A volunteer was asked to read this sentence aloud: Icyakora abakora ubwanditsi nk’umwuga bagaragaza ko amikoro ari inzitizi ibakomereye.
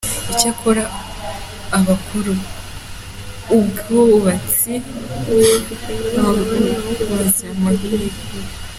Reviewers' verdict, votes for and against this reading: rejected, 0, 2